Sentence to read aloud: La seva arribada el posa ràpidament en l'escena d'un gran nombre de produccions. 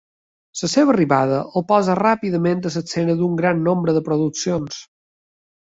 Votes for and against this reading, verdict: 1, 3, rejected